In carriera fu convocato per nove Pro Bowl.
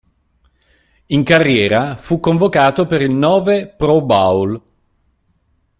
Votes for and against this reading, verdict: 3, 4, rejected